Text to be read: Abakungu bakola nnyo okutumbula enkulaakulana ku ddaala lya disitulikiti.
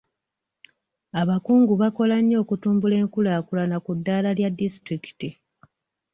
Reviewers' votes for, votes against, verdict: 2, 0, accepted